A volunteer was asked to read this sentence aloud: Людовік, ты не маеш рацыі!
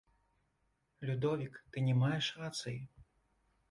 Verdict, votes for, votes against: rejected, 1, 2